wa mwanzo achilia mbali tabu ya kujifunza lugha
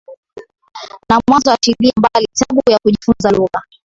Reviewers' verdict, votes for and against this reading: accepted, 7, 3